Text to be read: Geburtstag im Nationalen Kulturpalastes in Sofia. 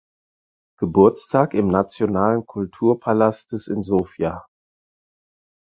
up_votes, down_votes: 4, 0